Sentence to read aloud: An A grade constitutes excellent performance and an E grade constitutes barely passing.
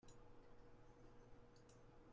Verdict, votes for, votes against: rejected, 0, 2